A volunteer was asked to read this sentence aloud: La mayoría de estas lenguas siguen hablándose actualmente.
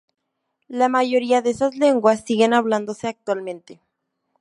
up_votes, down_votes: 2, 0